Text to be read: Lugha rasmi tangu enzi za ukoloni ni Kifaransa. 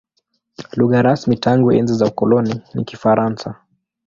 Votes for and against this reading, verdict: 2, 0, accepted